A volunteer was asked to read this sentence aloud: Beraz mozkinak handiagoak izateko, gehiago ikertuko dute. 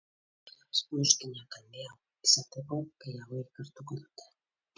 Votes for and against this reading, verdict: 0, 2, rejected